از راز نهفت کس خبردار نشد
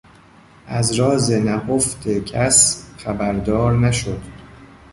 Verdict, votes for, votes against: rejected, 1, 2